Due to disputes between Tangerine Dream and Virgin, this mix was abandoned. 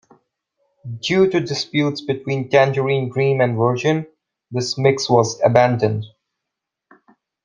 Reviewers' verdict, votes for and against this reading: accepted, 2, 0